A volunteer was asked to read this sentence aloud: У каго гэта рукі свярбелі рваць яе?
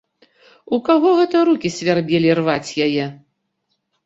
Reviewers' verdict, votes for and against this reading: accepted, 3, 0